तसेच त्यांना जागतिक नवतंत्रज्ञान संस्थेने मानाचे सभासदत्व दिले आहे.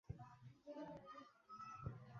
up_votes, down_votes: 0, 2